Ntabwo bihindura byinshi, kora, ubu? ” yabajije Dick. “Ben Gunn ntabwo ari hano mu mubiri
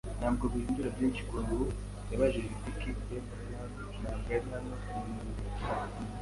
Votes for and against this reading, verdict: 2, 0, accepted